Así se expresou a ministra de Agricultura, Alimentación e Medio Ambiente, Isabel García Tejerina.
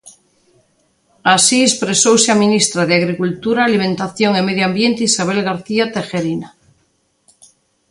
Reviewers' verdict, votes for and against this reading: rejected, 1, 2